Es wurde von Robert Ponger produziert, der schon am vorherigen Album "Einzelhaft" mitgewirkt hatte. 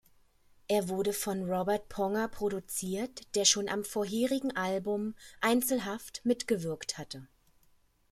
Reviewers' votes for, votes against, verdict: 1, 2, rejected